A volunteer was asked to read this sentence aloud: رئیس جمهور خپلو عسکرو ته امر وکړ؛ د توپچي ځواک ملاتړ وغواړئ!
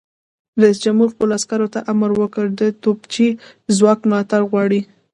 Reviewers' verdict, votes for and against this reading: rejected, 1, 2